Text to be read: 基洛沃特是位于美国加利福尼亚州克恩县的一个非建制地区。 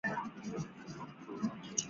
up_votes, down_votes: 1, 2